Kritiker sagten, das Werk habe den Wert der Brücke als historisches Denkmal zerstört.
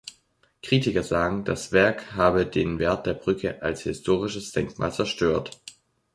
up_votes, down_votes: 0, 2